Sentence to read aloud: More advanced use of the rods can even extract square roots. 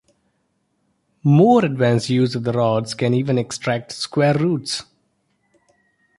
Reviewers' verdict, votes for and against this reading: accepted, 2, 0